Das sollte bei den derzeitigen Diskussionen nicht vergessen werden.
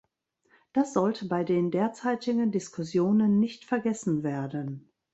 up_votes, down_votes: 2, 0